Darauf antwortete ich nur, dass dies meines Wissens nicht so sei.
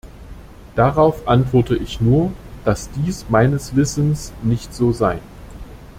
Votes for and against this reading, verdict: 0, 2, rejected